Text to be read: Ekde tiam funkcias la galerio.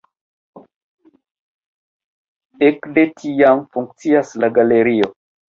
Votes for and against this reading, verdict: 2, 1, accepted